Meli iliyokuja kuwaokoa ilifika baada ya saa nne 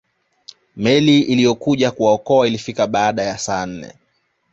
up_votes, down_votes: 2, 0